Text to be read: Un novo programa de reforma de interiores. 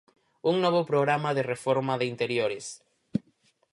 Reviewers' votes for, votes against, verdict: 4, 0, accepted